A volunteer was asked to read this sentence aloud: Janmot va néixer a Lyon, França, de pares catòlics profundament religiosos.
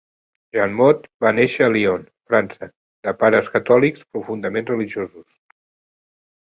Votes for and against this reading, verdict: 4, 1, accepted